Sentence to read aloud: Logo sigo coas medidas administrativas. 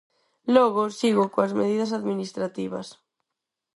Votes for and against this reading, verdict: 4, 0, accepted